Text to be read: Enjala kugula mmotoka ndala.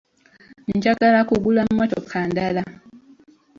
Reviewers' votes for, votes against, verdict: 2, 1, accepted